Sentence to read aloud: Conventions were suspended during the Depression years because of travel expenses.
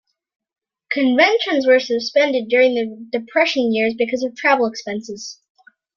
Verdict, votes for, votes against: accepted, 2, 0